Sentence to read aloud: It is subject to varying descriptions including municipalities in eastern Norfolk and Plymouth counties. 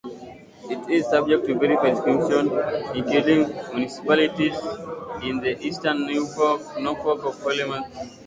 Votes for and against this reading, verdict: 0, 2, rejected